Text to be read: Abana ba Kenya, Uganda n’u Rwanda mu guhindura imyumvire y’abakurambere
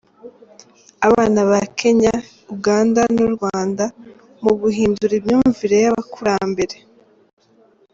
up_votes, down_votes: 0, 2